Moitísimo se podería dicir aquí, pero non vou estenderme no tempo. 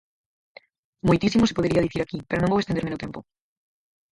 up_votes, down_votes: 0, 4